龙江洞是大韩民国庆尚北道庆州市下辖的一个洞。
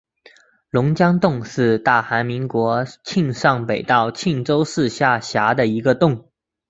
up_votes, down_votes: 5, 0